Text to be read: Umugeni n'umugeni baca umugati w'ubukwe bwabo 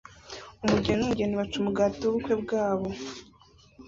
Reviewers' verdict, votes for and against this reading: accepted, 2, 0